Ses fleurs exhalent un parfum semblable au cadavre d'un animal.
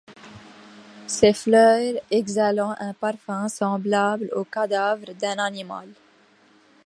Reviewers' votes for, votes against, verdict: 1, 2, rejected